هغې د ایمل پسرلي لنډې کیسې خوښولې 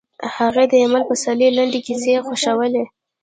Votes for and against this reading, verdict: 1, 2, rejected